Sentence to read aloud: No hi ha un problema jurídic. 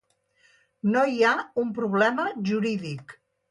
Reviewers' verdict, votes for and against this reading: accepted, 2, 0